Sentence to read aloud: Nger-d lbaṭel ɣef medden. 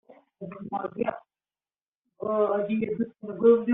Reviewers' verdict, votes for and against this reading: rejected, 0, 2